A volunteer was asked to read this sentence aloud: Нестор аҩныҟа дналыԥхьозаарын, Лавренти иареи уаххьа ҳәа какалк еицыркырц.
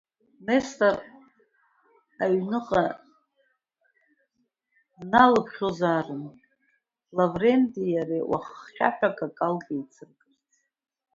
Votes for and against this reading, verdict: 1, 2, rejected